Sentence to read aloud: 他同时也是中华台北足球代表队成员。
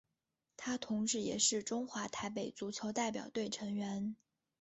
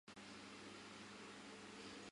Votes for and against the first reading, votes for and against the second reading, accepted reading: 3, 1, 0, 6, first